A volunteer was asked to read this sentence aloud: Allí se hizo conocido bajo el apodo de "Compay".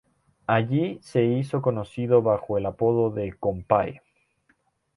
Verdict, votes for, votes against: rejected, 2, 2